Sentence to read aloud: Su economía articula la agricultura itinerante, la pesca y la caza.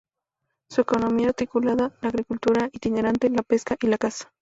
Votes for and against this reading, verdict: 0, 2, rejected